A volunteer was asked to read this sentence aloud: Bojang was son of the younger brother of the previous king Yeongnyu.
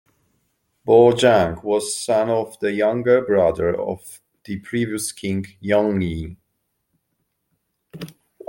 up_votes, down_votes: 2, 0